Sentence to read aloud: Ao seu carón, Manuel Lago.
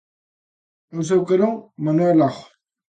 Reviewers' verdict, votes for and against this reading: rejected, 1, 2